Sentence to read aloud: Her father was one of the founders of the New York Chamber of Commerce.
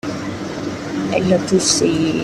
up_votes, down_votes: 0, 2